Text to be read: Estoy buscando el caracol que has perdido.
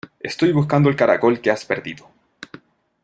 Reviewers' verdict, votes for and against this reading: accepted, 2, 0